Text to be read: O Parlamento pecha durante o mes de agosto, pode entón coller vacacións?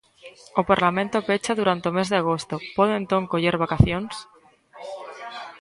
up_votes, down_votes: 1, 2